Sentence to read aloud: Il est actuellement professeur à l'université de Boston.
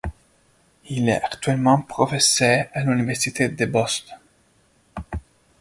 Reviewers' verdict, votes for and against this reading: rejected, 1, 2